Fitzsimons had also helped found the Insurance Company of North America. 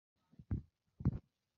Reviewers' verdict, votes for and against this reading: rejected, 0, 2